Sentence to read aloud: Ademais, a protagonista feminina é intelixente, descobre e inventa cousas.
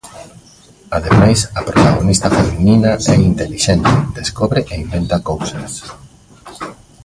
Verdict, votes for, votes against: rejected, 0, 2